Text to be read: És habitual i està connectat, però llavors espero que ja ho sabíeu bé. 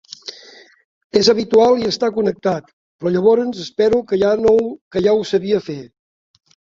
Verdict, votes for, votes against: rejected, 1, 3